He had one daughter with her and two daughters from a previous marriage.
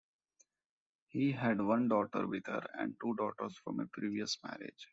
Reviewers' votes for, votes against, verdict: 2, 0, accepted